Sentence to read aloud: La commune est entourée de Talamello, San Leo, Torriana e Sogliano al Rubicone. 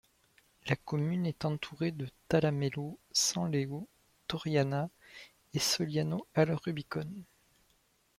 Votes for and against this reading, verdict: 2, 0, accepted